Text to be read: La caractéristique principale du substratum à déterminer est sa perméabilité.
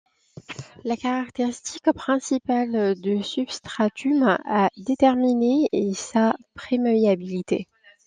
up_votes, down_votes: 2, 0